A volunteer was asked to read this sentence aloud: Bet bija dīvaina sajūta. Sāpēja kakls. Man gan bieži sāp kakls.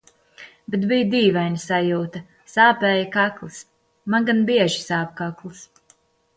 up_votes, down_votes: 2, 0